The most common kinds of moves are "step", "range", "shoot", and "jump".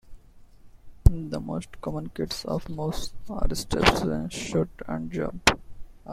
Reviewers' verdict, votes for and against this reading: rejected, 0, 2